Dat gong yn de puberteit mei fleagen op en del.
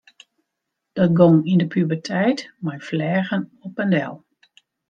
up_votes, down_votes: 2, 0